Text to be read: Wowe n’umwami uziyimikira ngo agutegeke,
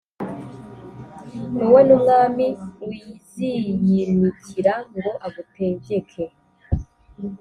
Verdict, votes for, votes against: accepted, 2, 0